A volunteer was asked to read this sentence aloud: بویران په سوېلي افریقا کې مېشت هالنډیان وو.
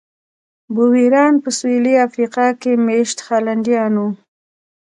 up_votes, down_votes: 2, 0